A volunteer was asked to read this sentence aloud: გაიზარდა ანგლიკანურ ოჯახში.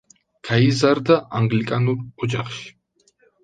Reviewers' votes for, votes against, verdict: 2, 0, accepted